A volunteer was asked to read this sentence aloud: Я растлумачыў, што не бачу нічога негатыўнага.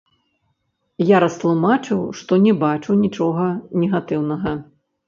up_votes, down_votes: 0, 3